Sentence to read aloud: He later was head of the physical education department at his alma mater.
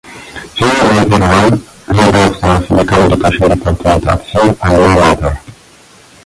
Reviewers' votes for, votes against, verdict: 0, 2, rejected